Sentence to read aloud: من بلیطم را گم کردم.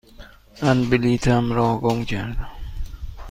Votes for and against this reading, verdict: 2, 0, accepted